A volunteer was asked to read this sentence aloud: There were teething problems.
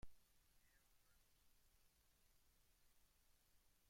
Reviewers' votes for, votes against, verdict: 0, 2, rejected